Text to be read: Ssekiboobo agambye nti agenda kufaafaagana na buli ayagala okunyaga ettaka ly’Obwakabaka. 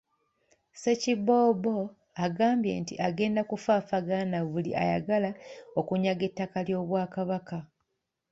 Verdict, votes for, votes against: rejected, 1, 2